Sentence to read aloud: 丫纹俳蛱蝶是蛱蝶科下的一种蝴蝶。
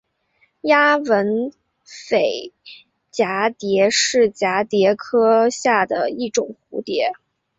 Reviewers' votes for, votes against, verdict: 2, 0, accepted